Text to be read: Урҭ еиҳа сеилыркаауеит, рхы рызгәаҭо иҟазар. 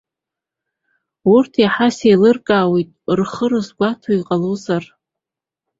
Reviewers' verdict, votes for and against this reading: accepted, 2, 1